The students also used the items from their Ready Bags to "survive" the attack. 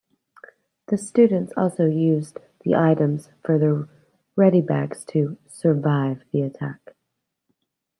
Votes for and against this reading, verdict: 0, 2, rejected